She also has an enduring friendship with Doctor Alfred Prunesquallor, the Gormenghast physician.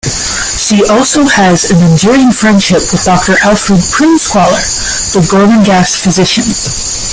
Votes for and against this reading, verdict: 1, 2, rejected